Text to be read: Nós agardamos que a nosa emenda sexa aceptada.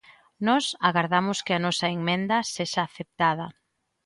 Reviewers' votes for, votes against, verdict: 0, 2, rejected